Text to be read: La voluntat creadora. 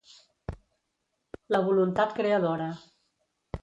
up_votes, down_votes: 3, 0